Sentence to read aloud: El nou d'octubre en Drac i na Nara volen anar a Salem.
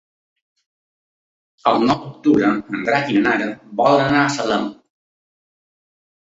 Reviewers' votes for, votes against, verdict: 2, 3, rejected